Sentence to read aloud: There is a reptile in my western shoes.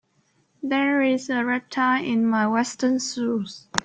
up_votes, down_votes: 0, 3